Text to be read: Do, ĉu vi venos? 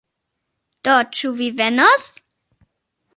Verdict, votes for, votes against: accepted, 2, 0